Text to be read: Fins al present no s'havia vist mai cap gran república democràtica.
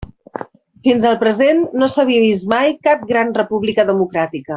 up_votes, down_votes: 2, 0